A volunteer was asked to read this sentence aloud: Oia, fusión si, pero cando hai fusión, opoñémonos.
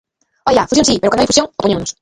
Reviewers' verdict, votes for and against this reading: rejected, 0, 3